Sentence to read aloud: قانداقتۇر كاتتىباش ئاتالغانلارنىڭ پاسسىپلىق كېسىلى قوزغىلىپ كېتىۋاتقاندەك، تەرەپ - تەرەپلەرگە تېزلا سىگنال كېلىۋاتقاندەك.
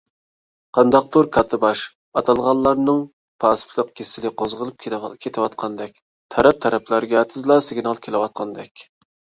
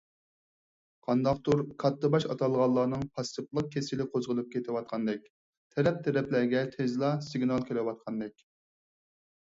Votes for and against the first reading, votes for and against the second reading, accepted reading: 1, 2, 4, 0, second